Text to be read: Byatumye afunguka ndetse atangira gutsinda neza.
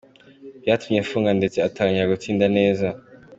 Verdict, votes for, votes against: accepted, 2, 1